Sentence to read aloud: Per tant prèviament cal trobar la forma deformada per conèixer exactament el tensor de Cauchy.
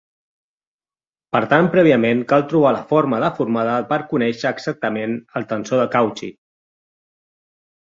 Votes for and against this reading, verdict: 1, 2, rejected